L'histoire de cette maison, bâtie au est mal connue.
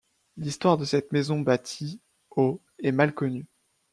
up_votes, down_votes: 1, 2